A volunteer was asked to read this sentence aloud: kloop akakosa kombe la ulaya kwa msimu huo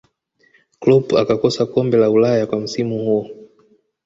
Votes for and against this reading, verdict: 2, 1, accepted